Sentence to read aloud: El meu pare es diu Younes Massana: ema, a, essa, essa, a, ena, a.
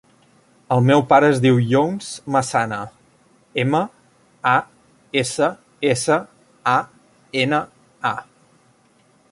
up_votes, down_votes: 0, 2